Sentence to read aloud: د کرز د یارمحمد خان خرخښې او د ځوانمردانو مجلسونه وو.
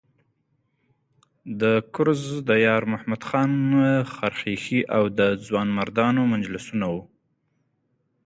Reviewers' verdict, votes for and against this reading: accepted, 2, 0